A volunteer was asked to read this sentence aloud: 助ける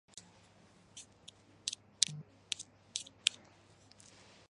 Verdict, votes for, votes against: rejected, 0, 2